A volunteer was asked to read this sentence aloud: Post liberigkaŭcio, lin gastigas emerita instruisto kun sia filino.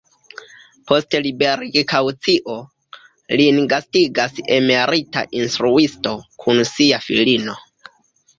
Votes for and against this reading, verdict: 2, 0, accepted